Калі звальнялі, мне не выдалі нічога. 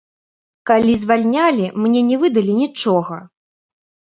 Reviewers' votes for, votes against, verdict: 2, 1, accepted